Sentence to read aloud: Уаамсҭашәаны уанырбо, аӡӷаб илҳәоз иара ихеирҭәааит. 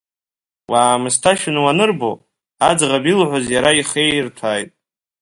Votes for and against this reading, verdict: 2, 1, accepted